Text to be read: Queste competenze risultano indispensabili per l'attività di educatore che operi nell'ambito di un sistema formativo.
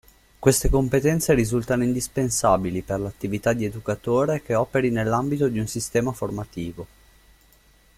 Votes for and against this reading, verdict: 2, 0, accepted